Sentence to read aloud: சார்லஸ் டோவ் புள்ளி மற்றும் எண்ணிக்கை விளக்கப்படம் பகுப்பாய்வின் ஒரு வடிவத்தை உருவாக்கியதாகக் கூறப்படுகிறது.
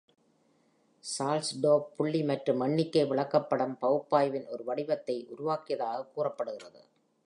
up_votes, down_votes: 1, 3